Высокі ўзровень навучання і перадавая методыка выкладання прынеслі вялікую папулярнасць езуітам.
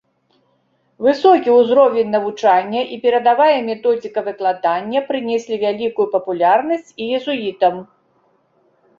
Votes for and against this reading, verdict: 2, 3, rejected